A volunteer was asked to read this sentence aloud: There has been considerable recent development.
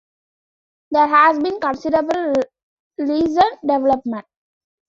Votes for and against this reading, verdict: 2, 1, accepted